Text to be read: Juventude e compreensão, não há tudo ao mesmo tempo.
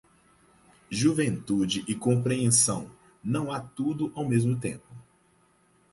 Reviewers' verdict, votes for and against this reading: accepted, 4, 0